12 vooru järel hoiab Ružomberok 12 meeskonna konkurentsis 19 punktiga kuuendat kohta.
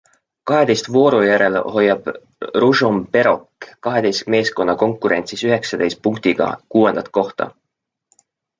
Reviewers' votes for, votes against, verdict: 0, 2, rejected